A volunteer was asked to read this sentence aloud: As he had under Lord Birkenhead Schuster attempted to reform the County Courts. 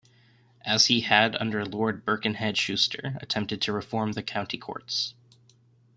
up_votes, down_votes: 2, 0